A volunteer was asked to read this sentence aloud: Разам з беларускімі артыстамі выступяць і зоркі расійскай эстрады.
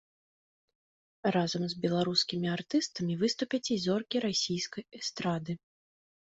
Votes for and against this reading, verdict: 2, 0, accepted